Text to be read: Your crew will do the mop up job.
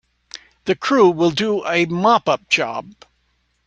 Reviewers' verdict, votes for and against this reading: rejected, 0, 2